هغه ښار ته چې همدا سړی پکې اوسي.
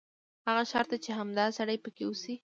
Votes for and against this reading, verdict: 1, 2, rejected